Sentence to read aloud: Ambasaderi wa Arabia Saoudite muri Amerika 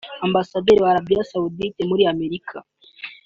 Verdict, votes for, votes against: accepted, 2, 0